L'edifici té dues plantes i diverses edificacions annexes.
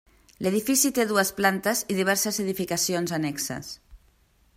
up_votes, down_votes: 3, 0